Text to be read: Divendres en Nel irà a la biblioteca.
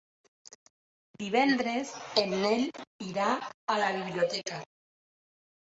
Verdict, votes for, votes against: accepted, 2, 1